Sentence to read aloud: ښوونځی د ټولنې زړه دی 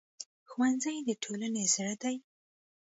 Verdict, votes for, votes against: accepted, 2, 0